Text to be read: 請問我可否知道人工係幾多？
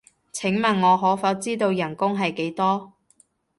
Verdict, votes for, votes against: accepted, 2, 0